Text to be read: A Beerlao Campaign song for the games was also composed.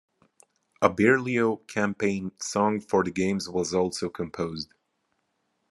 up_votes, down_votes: 1, 2